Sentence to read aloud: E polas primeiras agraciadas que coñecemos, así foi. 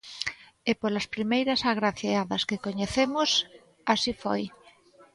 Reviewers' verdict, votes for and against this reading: accepted, 2, 0